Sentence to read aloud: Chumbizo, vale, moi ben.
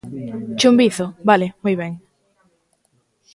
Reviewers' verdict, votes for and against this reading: accepted, 2, 0